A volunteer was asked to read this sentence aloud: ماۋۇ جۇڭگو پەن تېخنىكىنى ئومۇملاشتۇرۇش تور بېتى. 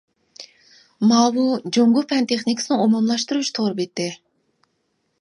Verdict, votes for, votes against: rejected, 0, 2